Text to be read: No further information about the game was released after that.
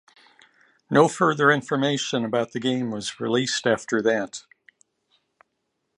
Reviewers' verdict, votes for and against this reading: accepted, 2, 0